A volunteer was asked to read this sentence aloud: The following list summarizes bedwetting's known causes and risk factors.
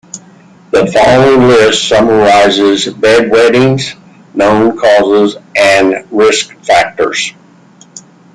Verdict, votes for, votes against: accepted, 2, 0